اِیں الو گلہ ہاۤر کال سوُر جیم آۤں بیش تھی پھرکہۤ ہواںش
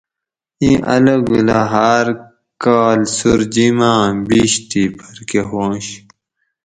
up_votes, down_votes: 4, 0